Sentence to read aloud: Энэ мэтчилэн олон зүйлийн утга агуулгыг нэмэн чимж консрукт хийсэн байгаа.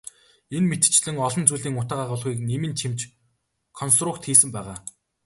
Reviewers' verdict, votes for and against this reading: accepted, 3, 0